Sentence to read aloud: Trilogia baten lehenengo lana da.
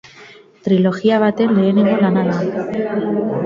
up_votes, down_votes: 2, 4